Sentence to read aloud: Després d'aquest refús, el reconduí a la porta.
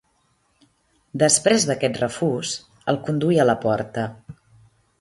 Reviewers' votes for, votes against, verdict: 0, 2, rejected